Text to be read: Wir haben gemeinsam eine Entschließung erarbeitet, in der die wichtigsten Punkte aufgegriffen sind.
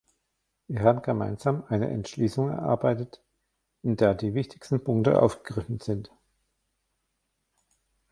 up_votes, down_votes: 1, 2